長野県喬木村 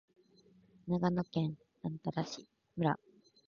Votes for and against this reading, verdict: 2, 0, accepted